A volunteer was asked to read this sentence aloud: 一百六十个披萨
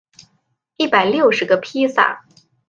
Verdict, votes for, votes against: accepted, 5, 0